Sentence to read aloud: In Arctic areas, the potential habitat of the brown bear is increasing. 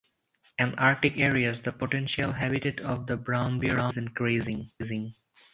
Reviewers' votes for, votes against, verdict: 0, 2, rejected